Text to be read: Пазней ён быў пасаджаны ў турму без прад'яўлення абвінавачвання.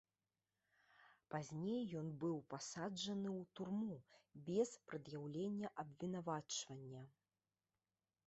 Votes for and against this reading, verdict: 2, 0, accepted